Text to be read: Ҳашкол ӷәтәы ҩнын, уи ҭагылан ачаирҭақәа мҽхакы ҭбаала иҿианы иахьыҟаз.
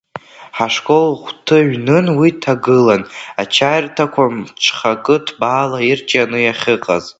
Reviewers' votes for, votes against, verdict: 0, 2, rejected